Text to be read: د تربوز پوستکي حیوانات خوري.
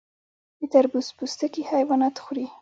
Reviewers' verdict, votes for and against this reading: accepted, 2, 0